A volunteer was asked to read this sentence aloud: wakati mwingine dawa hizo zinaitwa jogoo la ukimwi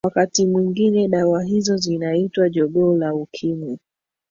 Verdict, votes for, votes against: accepted, 2, 1